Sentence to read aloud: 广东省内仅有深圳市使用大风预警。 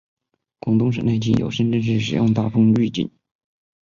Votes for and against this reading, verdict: 2, 1, accepted